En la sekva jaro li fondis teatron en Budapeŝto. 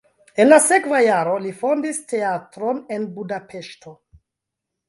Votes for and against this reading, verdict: 2, 0, accepted